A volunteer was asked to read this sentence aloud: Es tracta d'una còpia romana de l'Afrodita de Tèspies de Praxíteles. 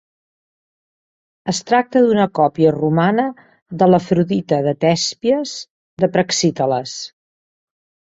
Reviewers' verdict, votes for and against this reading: accepted, 5, 0